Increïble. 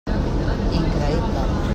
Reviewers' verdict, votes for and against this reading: rejected, 1, 2